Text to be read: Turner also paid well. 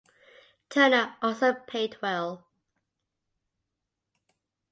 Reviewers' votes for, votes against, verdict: 2, 0, accepted